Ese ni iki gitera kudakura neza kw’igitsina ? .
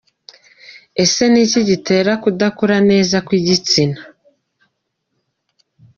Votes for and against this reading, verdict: 2, 0, accepted